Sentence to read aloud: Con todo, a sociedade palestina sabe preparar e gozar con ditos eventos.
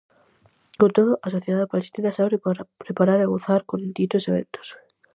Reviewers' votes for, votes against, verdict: 0, 4, rejected